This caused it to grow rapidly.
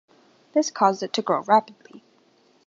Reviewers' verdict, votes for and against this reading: accepted, 2, 0